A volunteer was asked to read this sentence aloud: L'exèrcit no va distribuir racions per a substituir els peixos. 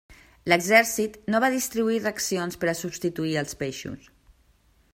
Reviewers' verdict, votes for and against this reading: rejected, 1, 2